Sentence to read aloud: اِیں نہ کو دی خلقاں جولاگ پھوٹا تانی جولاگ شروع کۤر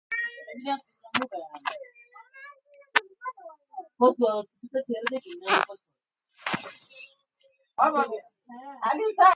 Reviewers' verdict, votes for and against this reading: rejected, 0, 2